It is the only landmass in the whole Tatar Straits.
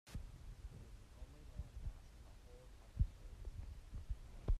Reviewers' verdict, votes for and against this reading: rejected, 0, 2